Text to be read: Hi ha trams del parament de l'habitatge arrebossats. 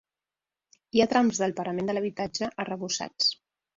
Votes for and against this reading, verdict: 2, 0, accepted